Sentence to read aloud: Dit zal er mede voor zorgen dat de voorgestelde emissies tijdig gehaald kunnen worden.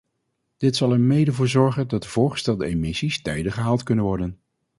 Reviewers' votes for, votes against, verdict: 2, 2, rejected